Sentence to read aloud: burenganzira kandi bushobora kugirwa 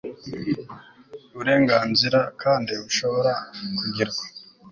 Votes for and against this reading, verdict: 2, 0, accepted